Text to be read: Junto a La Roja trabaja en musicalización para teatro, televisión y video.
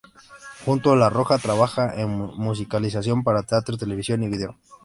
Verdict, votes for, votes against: accepted, 2, 0